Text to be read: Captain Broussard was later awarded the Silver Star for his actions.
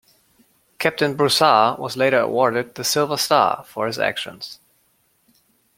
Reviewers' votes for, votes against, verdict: 2, 0, accepted